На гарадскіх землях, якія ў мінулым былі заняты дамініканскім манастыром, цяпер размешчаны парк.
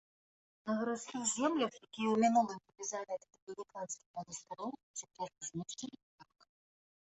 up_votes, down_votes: 0, 2